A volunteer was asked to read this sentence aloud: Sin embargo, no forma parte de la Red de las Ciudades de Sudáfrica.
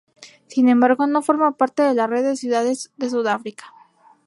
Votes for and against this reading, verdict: 2, 0, accepted